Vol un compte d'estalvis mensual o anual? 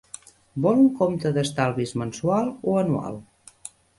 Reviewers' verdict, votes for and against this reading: accepted, 2, 0